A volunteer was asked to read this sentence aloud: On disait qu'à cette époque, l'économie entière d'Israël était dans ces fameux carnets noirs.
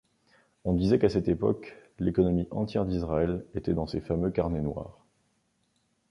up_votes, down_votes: 2, 0